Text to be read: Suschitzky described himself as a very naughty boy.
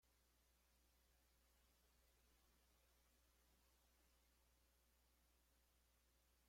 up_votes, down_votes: 0, 2